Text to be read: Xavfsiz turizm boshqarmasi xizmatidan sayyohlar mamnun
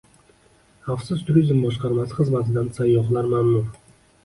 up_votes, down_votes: 2, 0